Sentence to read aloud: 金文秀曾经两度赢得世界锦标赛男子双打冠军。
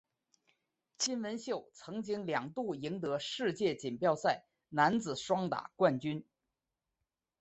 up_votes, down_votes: 4, 1